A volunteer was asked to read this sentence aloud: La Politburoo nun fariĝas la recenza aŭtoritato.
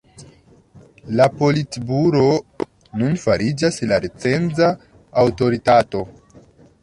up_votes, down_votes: 2, 1